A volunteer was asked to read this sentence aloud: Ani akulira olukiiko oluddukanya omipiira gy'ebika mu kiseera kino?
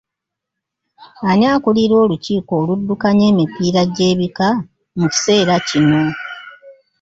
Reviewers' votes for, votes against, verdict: 0, 2, rejected